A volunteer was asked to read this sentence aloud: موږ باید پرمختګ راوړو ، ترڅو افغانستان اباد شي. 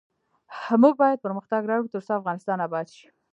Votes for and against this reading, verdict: 0, 2, rejected